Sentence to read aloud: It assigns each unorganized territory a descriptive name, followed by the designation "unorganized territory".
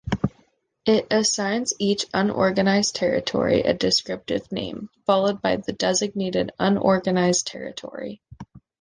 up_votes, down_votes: 0, 2